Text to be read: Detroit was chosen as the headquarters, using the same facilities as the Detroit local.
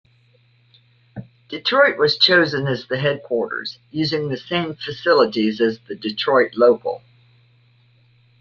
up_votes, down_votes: 2, 0